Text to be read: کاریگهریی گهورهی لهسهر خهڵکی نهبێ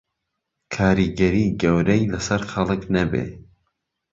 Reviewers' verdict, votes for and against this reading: rejected, 0, 2